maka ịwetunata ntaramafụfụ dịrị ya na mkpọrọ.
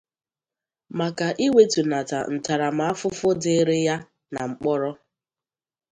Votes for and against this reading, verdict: 2, 0, accepted